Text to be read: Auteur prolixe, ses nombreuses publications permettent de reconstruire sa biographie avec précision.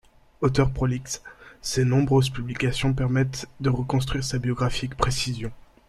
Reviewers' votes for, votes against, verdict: 0, 2, rejected